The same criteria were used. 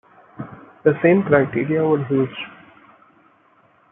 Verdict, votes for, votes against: rejected, 1, 2